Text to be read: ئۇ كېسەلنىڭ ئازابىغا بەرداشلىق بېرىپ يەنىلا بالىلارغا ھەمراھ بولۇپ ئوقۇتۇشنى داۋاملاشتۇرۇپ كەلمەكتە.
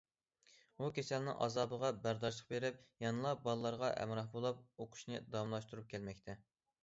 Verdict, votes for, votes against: rejected, 0, 2